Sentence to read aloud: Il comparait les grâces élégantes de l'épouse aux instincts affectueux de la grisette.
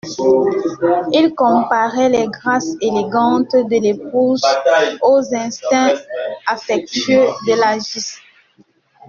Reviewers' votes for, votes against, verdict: 0, 2, rejected